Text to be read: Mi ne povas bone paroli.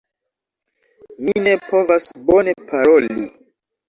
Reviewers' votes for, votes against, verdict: 3, 0, accepted